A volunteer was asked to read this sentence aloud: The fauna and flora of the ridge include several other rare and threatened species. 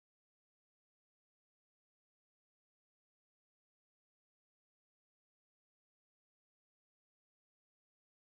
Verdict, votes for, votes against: rejected, 0, 2